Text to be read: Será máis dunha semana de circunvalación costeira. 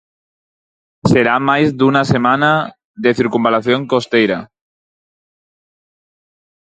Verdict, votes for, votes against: rejected, 0, 4